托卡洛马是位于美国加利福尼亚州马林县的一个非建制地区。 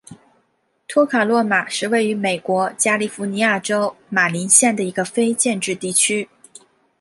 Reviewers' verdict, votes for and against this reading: accepted, 3, 0